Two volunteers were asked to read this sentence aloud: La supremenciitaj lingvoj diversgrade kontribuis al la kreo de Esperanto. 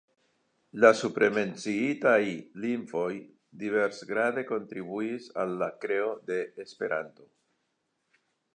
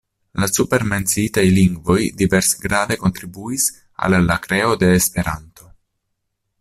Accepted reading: first